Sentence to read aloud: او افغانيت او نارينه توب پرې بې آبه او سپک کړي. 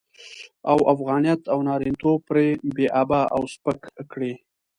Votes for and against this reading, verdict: 2, 0, accepted